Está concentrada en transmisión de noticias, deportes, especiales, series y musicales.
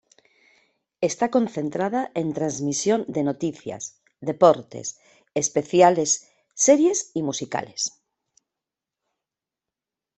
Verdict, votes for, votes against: accepted, 2, 0